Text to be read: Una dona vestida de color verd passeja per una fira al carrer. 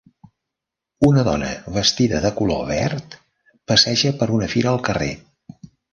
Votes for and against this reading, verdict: 3, 0, accepted